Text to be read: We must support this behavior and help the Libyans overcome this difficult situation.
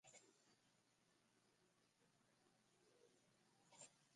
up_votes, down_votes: 0, 2